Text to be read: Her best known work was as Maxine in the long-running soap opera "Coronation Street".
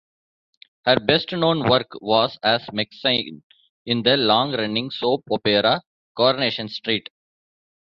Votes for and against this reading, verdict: 2, 0, accepted